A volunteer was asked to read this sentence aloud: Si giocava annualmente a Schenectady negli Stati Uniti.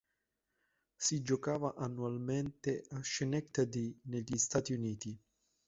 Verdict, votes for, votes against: accepted, 2, 1